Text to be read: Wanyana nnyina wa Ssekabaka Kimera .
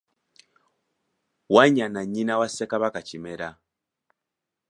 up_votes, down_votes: 2, 0